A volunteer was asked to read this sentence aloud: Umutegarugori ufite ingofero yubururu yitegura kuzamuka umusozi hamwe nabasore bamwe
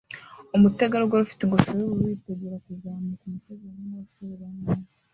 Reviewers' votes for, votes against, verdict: 1, 2, rejected